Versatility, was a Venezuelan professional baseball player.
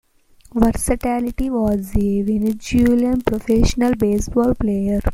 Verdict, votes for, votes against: rejected, 1, 2